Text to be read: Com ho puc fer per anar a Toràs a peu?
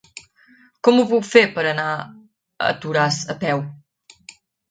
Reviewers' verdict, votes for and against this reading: accepted, 2, 1